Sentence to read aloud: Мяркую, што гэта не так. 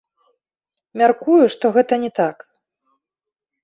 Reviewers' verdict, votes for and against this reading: accepted, 3, 0